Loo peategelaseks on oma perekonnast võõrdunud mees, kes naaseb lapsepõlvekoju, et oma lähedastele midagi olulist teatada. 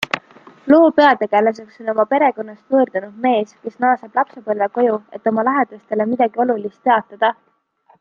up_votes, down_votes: 2, 0